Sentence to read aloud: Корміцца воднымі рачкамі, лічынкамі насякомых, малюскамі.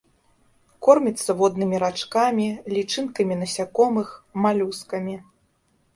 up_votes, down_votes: 2, 0